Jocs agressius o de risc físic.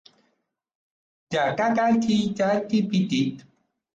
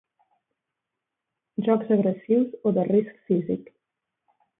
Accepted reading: second